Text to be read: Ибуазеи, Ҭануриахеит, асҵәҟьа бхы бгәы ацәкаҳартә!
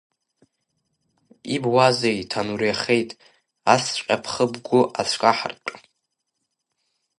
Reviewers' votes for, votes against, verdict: 2, 0, accepted